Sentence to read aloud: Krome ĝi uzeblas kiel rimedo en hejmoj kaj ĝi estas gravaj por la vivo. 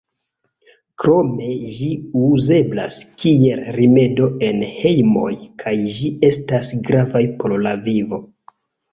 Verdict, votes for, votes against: accepted, 2, 0